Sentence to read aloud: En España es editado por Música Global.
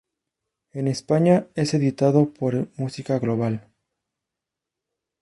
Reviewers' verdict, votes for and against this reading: accepted, 2, 0